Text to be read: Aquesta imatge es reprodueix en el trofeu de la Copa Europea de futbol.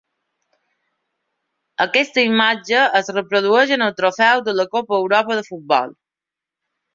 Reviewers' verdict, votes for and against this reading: rejected, 2, 3